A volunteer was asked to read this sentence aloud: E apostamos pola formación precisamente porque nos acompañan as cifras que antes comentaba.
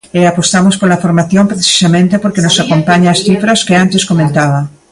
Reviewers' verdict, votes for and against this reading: rejected, 1, 2